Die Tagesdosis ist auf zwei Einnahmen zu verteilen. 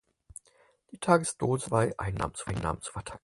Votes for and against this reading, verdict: 0, 4, rejected